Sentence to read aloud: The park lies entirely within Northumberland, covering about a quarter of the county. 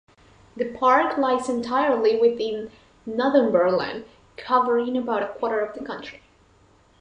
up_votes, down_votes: 1, 2